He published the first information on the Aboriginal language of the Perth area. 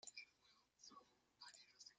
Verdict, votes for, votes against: rejected, 0, 2